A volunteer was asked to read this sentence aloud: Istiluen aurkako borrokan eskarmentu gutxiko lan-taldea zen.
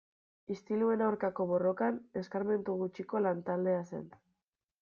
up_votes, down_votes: 0, 2